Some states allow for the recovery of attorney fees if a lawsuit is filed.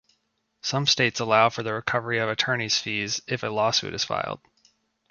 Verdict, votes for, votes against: accepted, 2, 0